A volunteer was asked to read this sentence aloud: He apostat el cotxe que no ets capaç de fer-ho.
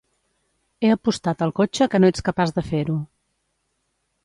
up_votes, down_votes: 2, 0